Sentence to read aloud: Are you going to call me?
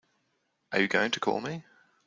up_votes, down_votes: 2, 0